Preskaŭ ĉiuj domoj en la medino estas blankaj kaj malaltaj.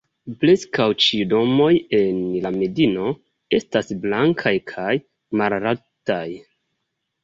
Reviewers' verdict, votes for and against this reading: rejected, 1, 2